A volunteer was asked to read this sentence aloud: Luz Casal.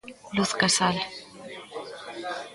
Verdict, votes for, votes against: accepted, 2, 0